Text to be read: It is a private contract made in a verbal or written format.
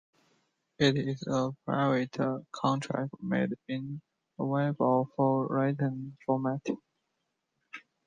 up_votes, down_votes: 0, 2